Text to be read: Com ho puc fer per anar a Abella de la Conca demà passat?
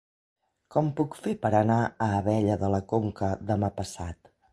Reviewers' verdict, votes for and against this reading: rejected, 1, 2